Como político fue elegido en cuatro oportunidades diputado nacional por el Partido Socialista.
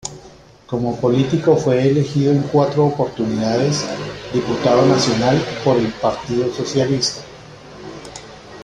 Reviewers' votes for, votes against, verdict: 2, 0, accepted